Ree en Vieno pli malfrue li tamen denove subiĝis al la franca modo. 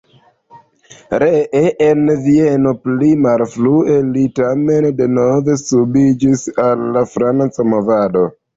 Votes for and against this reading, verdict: 0, 2, rejected